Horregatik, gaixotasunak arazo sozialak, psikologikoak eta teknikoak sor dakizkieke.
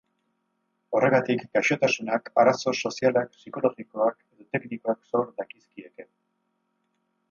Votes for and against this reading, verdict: 2, 2, rejected